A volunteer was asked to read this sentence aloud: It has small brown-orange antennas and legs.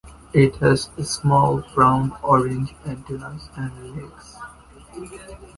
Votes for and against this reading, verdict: 1, 2, rejected